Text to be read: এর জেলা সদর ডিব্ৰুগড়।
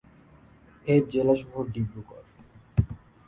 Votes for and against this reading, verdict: 2, 1, accepted